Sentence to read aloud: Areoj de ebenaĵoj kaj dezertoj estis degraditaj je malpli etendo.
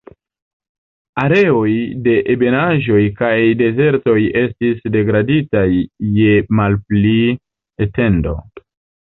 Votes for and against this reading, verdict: 0, 2, rejected